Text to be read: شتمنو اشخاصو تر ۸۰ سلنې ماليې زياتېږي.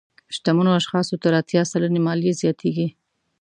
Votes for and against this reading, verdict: 0, 2, rejected